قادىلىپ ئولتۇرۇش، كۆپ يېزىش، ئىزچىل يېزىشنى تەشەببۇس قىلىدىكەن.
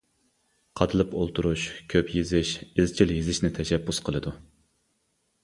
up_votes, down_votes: 0, 2